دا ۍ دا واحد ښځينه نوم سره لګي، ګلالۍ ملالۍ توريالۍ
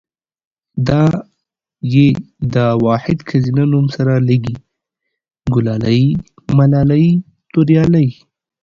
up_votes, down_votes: 2, 0